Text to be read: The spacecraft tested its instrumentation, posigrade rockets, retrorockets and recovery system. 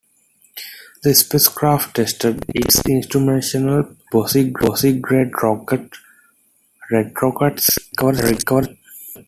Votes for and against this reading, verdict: 0, 2, rejected